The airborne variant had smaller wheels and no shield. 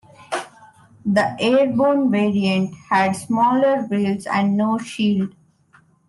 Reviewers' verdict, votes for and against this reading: accepted, 4, 1